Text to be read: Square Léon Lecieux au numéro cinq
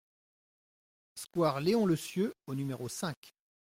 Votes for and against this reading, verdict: 2, 0, accepted